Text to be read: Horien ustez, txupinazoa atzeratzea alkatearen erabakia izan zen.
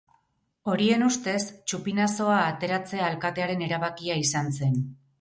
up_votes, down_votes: 0, 2